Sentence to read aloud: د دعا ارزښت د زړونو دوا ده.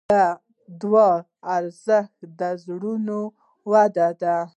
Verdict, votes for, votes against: rejected, 0, 2